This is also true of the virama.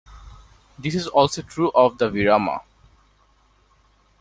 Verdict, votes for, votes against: rejected, 1, 2